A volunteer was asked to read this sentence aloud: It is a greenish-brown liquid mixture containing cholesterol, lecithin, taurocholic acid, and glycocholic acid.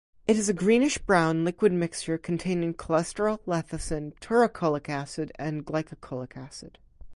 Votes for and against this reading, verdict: 2, 2, rejected